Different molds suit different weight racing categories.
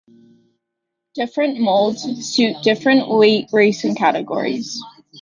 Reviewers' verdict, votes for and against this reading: accepted, 2, 0